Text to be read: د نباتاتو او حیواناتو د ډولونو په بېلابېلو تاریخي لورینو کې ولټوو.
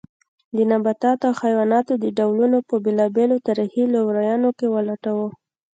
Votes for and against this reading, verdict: 2, 0, accepted